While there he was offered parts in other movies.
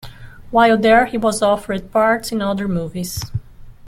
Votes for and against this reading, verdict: 2, 0, accepted